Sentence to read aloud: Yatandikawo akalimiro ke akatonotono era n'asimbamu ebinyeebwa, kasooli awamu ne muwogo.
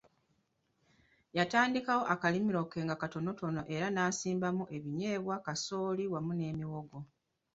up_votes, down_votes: 0, 2